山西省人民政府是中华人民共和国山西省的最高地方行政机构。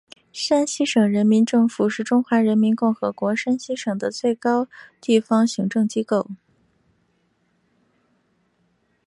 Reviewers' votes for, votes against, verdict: 3, 2, accepted